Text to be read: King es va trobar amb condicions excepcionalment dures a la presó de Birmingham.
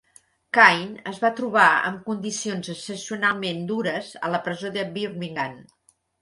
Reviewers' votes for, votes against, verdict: 1, 2, rejected